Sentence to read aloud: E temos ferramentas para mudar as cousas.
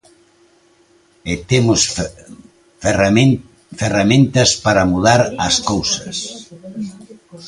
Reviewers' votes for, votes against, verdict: 0, 2, rejected